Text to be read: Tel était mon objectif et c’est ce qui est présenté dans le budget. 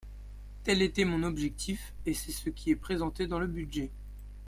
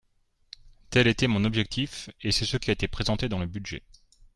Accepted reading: first